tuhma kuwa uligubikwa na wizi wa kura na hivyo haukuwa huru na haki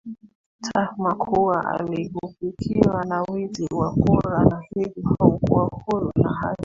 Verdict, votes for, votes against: rejected, 0, 2